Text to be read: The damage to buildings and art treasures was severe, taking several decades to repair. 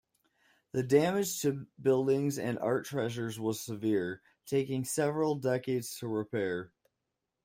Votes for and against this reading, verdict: 2, 1, accepted